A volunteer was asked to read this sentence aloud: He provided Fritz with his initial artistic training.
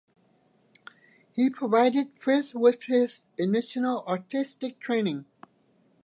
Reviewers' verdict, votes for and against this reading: rejected, 0, 2